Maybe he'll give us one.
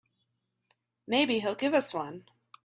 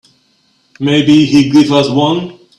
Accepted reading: first